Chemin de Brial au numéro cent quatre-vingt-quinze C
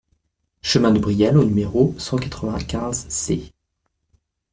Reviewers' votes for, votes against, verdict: 2, 0, accepted